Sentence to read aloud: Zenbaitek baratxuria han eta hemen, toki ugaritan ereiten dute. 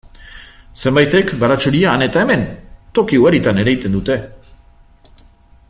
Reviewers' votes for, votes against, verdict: 2, 1, accepted